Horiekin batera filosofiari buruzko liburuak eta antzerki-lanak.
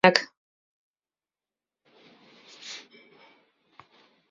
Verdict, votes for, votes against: rejected, 0, 4